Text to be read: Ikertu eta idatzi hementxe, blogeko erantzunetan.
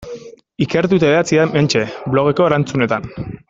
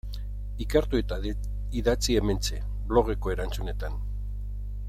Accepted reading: first